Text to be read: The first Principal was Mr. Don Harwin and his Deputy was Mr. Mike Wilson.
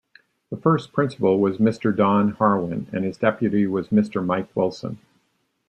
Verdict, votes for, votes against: accepted, 2, 0